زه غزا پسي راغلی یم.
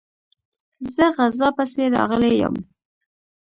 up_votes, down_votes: 1, 2